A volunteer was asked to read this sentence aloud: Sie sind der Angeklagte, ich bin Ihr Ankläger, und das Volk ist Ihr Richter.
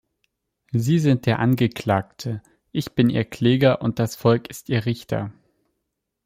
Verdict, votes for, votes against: rejected, 0, 2